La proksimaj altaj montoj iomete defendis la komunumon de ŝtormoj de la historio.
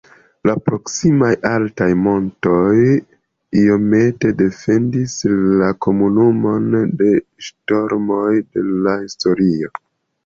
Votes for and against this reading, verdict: 2, 0, accepted